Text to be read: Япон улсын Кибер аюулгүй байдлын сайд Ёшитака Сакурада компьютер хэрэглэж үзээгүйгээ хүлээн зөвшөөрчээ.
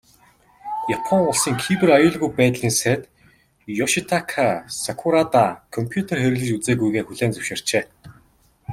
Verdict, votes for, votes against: accepted, 2, 0